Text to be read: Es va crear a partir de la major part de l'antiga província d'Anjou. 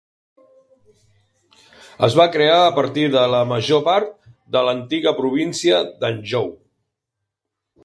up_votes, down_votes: 3, 0